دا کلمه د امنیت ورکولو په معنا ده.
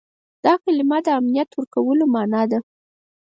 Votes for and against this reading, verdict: 4, 0, accepted